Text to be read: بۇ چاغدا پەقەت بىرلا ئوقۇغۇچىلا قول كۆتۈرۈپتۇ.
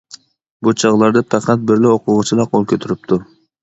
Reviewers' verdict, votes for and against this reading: rejected, 0, 2